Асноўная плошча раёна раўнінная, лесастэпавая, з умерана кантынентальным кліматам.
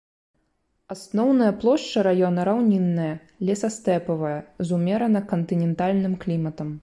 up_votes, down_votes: 2, 0